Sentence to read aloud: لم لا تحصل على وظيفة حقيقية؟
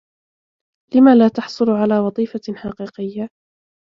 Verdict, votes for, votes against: rejected, 0, 2